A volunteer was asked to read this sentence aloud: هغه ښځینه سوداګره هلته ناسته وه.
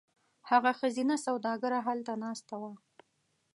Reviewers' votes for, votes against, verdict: 2, 0, accepted